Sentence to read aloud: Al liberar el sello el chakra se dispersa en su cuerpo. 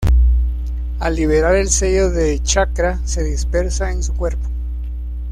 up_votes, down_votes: 1, 2